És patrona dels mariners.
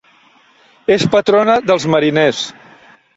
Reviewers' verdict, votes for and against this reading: accepted, 3, 0